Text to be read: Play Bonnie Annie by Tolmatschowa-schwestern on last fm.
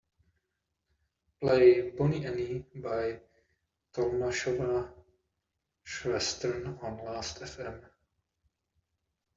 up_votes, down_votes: 0, 2